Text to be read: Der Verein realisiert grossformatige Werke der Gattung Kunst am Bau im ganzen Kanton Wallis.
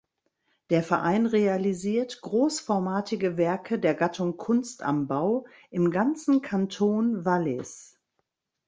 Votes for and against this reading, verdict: 2, 0, accepted